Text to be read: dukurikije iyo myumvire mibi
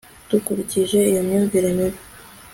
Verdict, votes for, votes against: accepted, 2, 1